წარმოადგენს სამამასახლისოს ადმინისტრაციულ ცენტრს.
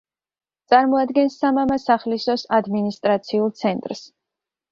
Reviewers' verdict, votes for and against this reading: accepted, 2, 0